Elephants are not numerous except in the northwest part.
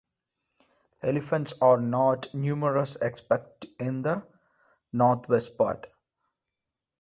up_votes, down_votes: 1, 2